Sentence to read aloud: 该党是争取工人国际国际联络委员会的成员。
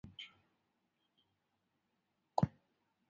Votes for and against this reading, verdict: 0, 4, rejected